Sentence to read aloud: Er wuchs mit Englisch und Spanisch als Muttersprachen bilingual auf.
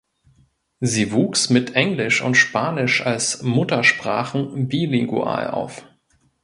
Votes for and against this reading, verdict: 0, 2, rejected